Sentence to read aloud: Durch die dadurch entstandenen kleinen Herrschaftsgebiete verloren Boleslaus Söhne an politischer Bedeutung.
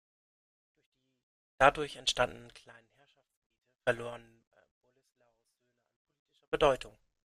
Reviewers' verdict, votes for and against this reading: rejected, 0, 2